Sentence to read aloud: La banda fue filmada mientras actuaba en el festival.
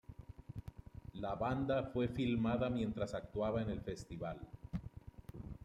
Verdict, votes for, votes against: rejected, 1, 2